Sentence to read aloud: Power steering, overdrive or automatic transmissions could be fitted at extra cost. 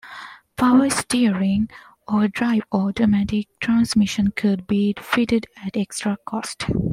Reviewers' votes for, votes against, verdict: 1, 2, rejected